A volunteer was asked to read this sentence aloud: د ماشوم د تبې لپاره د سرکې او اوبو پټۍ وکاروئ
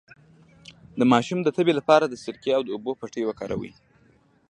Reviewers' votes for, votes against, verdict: 1, 2, rejected